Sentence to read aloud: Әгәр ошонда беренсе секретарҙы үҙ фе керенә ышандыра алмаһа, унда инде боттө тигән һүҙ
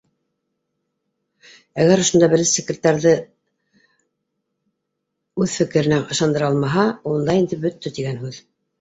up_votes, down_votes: 1, 2